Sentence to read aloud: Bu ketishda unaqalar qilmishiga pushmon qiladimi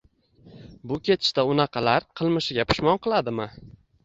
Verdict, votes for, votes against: rejected, 1, 2